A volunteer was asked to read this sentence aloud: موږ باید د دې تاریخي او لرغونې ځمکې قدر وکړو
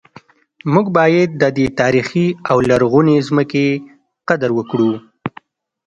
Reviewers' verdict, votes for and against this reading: accepted, 2, 0